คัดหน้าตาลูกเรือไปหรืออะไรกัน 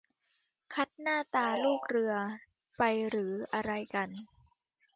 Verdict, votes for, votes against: accepted, 2, 1